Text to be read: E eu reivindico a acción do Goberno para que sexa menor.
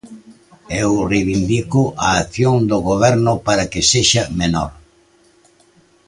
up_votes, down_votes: 2, 0